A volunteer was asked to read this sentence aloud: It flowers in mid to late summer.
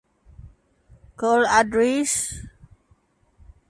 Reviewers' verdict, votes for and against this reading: rejected, 0, 2